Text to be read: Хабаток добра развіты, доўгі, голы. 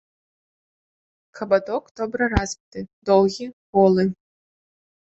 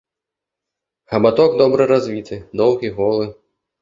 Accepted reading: second